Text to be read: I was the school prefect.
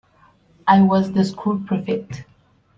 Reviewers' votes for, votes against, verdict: 2, 0, accepted